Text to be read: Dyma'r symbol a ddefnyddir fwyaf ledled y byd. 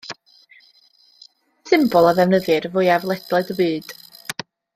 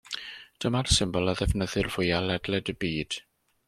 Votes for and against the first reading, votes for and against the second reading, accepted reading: 0, 2, 2, 0, second